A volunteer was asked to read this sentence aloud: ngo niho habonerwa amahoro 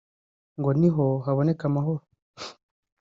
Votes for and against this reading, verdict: 1, 2, rejected